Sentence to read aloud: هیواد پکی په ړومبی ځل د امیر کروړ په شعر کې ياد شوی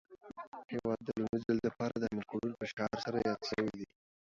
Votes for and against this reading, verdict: 1, 2, rejected